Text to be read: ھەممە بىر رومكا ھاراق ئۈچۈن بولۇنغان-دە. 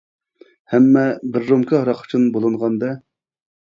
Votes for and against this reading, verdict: 2, 0, accepted